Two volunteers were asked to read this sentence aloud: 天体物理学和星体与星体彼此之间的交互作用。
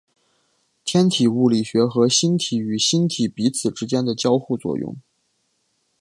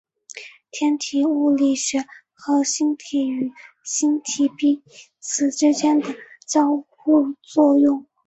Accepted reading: first